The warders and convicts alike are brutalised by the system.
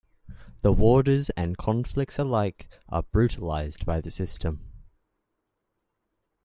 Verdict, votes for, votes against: rejected, 0, 2